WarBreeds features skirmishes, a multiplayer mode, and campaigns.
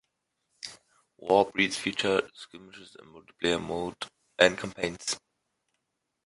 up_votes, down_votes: 1, 2